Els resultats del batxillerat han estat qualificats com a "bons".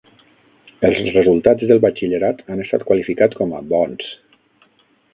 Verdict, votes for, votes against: rejected, 3, 6